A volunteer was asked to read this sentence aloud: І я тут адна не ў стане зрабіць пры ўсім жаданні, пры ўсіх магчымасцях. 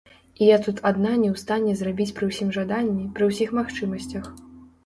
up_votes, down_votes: 1, 2